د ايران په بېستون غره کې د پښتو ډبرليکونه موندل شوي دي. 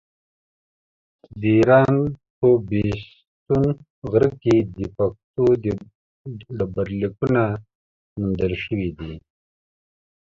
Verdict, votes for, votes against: accepted, 2, 0